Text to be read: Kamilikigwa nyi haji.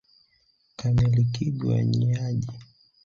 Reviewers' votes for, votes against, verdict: 2, 1, accepted